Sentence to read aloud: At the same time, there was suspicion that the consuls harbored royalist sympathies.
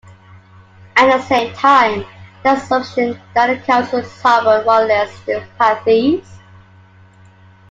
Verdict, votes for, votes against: rejected, 0, 2